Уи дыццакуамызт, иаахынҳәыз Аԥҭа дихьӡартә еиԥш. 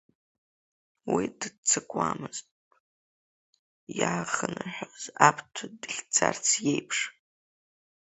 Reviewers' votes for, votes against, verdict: 0, 2, rejected